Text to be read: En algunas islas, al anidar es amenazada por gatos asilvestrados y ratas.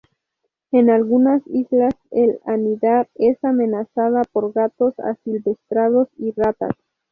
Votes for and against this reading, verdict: 2, 0, accepted